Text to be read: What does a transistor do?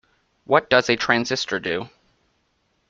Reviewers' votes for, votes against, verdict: 2, 0, accepted